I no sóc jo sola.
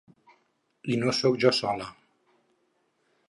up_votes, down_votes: 6, 0